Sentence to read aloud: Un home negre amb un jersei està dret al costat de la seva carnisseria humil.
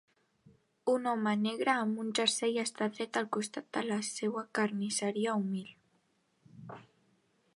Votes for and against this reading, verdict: 2, 1, accepted